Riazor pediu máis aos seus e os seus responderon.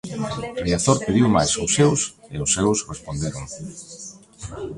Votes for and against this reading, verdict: 0, 2, rejected